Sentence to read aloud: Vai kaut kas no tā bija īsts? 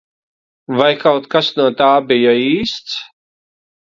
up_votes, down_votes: 2, 0